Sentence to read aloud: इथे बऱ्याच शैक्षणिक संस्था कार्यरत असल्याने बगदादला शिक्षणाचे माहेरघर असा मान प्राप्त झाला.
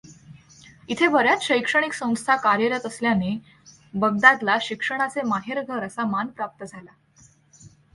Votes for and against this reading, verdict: 2, 0, accepted